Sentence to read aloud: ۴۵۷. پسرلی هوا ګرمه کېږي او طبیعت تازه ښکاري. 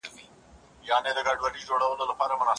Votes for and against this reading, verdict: 0, 2, rejected